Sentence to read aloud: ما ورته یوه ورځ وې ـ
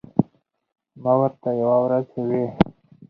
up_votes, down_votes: 2, 4